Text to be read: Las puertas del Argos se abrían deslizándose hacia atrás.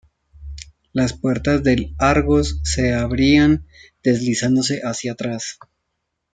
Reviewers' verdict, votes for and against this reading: accepted, 2, 0